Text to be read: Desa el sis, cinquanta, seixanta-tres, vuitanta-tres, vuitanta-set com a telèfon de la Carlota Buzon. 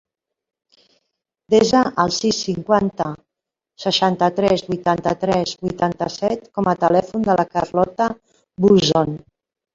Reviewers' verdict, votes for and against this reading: rejected, 1, 2